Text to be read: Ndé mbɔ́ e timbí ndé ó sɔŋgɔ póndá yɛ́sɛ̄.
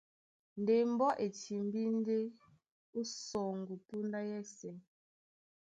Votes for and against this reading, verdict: 2, 0, accepted